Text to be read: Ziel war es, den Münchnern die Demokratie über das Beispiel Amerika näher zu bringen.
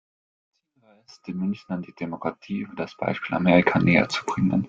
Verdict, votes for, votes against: rejected, 0, 2